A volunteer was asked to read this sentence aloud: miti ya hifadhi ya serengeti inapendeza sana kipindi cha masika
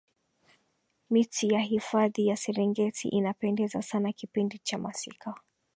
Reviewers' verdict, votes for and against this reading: rejected, 2, 5